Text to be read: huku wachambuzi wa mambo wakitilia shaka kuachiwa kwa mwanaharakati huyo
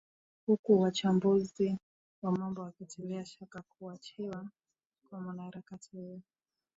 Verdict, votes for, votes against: accepted, 2, 0